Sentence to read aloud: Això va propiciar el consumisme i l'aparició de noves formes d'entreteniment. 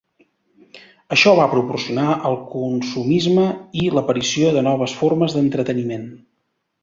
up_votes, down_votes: 1, 2